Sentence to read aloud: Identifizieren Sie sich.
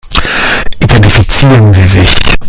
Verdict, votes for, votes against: rejected, 1, 2